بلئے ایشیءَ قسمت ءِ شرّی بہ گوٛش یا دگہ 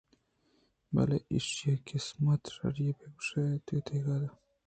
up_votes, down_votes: 1, 2